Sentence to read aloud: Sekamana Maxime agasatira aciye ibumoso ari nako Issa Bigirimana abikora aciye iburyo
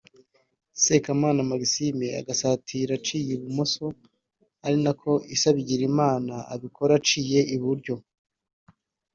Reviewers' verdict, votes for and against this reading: accepted, 2, 0